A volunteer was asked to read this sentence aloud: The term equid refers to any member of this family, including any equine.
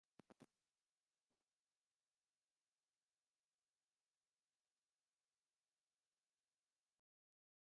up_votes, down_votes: 0, 2